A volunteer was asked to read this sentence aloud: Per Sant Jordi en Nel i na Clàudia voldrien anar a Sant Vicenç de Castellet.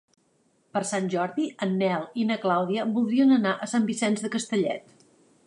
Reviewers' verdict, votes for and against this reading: accepted, 2, 0